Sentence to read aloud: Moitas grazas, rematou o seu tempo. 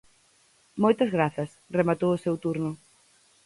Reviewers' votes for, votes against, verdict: 0, 4, rejected